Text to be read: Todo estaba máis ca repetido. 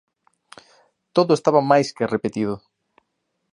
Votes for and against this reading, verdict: 2, 1, accepted